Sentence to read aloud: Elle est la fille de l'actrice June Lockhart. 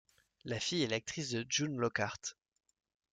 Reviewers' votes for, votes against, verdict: 1, 2, rejected